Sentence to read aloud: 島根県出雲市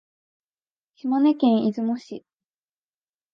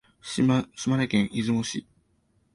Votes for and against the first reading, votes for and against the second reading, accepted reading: 2, 0, 1, 2, first